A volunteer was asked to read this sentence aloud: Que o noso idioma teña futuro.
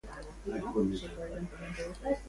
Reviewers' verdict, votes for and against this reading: rejected, 0, 2